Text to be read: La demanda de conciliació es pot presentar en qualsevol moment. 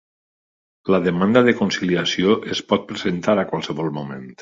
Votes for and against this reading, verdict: 1, 2, rejected